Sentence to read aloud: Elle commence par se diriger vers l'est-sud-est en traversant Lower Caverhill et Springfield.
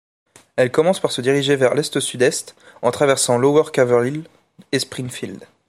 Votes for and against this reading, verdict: 2, 0, accepted